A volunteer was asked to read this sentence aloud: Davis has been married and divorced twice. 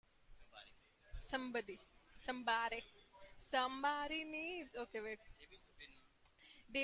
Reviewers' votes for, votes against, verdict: 0, 2, rejected